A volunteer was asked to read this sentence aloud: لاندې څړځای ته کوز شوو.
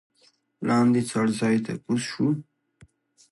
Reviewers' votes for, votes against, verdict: 2, 0, accepted